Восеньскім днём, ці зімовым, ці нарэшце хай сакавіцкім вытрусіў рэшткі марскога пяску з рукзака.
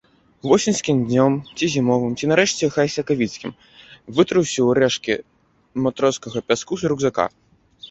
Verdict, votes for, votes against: rejected, 0, 2